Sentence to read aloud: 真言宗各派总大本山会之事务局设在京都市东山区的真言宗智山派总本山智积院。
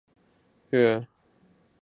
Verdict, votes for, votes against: rejected, 2, 4